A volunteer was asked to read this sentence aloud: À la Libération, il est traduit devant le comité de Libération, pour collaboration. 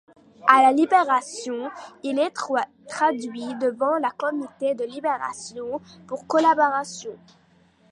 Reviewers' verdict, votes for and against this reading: rejected, 1, 2